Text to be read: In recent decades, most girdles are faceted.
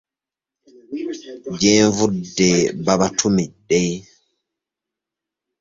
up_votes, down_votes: 0, 2